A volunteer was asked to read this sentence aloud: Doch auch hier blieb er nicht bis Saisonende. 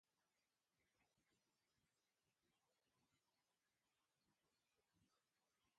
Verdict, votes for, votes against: rejected, 0, 2